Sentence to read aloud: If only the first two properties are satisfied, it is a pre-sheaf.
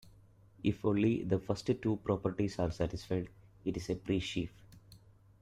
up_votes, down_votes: 1, 2